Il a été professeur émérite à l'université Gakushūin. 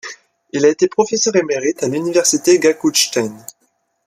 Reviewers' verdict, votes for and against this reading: rejected, 1, 2